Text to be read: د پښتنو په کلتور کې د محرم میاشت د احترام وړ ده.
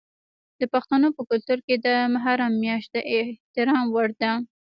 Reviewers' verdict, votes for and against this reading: accepted, 3, 0